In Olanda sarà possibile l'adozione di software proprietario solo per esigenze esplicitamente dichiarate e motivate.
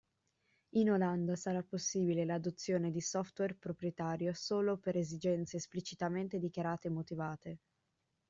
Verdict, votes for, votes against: accepted, 2, 0